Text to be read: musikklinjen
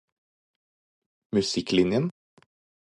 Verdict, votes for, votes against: accepted, 4, 0